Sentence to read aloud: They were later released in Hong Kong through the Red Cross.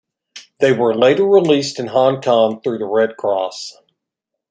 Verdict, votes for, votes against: accepted, 2, 0